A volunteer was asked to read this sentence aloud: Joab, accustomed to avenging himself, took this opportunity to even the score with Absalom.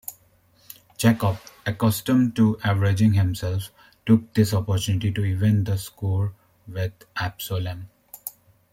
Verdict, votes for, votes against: accepted, 2, 0